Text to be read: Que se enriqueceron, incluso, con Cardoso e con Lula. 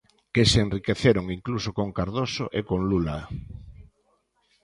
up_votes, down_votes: 2, 0